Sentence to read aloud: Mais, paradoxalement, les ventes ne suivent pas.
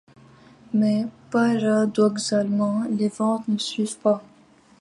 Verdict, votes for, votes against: accepted, 2, 0